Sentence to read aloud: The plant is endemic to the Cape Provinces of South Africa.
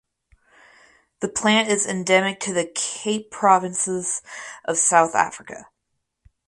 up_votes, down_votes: 4, 0